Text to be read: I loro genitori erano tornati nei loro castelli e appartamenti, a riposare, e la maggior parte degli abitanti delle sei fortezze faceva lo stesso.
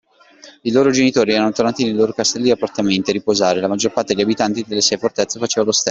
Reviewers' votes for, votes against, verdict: 0, 2, rejected